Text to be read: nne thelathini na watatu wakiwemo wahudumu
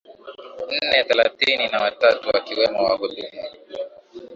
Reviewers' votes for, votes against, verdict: 13, 2, accepted